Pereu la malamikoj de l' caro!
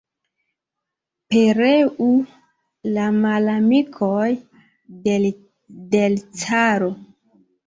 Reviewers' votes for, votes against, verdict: 0, 2, rejected